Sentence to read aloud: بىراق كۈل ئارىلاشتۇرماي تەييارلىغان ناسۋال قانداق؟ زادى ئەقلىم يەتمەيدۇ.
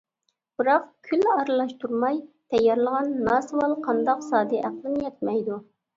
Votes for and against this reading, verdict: 2, 0, accepted